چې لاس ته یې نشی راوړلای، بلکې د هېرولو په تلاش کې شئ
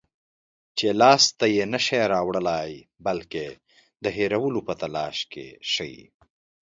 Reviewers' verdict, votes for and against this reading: accepted, 2, 0